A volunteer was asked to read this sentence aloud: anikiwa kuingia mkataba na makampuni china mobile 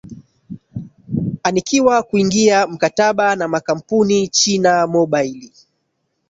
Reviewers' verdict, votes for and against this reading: rejected, 1, 2